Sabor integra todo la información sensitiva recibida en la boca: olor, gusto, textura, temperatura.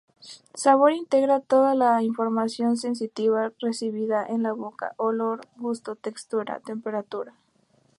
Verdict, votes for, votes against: accepted, 2, 0